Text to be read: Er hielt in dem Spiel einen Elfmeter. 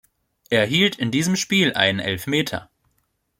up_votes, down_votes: 0, 2